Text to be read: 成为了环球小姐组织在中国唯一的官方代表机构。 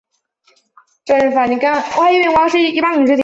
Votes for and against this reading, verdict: 1, 9, rejected